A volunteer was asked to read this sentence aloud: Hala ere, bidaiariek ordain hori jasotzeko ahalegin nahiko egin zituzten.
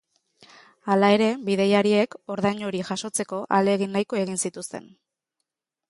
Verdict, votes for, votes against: accepted, 3, 0